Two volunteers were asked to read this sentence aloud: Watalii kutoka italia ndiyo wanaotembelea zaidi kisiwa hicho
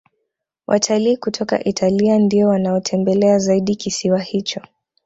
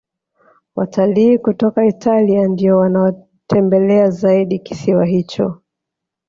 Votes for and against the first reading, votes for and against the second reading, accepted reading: 2, 0, 0, 2, first